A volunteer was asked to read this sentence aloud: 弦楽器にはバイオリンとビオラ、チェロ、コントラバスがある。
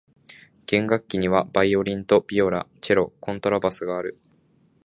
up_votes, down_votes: 2, 0